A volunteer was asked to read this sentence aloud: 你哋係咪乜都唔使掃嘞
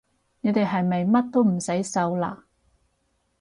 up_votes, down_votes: 2, 2